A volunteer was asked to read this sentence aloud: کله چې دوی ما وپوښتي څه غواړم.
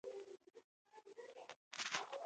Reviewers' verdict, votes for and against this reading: rejected, 0, 2